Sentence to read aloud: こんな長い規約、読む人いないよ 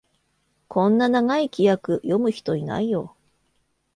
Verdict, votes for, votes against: accepted, 2, 0